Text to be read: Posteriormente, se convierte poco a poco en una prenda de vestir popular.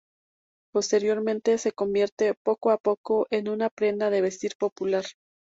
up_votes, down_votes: 2, 0